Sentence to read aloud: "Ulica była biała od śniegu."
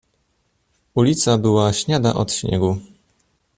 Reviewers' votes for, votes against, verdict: 0, 2, rejected